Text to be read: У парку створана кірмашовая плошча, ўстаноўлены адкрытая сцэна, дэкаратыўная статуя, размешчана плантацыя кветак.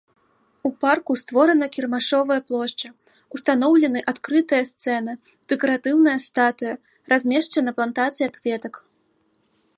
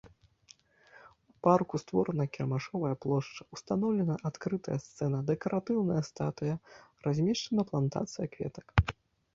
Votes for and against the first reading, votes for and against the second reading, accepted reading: 2, 0, 0, 2, first